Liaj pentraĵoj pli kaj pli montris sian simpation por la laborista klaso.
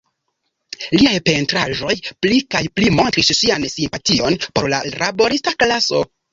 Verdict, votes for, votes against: rejected, 0, 2